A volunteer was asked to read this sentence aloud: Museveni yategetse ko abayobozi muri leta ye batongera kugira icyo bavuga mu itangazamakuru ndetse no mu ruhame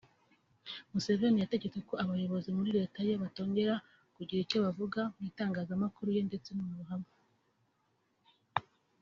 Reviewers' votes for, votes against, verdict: 2, 0, accepted